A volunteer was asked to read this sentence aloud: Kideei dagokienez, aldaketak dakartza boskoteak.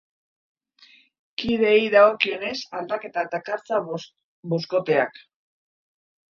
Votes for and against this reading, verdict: 0, 2, rejected